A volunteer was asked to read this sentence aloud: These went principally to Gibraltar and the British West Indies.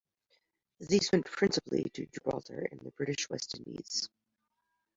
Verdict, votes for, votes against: accepted, 2, 0